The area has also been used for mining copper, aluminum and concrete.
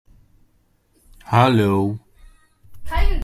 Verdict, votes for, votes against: rejected, 0, 2